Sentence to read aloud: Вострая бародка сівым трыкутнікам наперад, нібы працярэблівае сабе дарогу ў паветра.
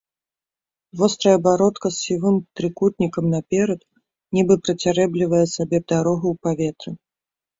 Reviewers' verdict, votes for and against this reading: rejected, 1, 2